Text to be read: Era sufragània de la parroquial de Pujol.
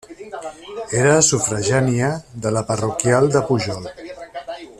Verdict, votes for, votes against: rejected, 1, 2